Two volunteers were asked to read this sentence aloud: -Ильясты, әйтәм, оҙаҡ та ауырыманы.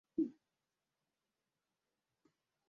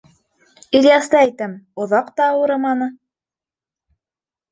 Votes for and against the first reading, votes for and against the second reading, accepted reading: 0, 2, 3, 0, second